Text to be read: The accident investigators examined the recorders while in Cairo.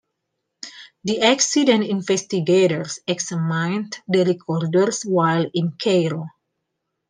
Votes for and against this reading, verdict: 0, 2, rejected